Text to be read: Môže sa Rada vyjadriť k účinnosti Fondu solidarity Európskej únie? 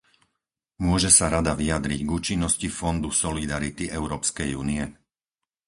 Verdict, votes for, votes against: accepted, 4, 0